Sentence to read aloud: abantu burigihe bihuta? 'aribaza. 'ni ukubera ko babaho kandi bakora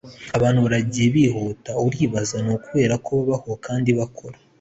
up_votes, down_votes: 2, 0